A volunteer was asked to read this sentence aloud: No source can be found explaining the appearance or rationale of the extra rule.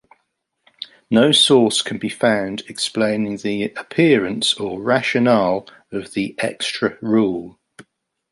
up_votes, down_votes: 2, 0